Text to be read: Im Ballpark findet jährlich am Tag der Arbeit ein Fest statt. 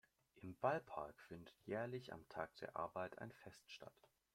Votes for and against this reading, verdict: 2, 0, accepted